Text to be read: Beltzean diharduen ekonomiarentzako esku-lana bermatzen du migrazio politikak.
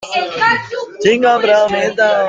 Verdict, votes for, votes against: rejected, 0, 2